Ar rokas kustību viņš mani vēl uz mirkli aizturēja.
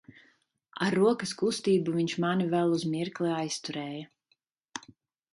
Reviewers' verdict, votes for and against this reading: accepted, 2, 0